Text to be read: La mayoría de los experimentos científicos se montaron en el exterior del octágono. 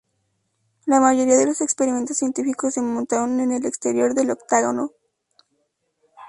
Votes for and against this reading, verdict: 2, 0, accepted